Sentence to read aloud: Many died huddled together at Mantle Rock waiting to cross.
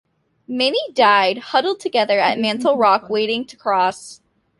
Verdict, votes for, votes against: accepted, 2, 0